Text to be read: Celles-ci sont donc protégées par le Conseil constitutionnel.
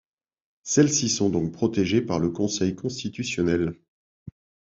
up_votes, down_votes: 2, 0